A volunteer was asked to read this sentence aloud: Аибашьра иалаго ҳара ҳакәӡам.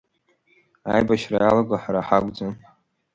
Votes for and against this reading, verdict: 2, 0, accepted